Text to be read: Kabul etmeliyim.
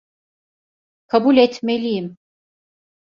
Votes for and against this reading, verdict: 2, 0, accepted